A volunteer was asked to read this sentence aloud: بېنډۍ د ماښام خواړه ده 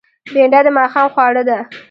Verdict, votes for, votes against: rejected, 1, 2